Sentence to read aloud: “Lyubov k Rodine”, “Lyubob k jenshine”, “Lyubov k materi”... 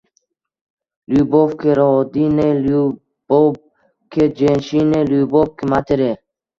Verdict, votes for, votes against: rejected, 0, 2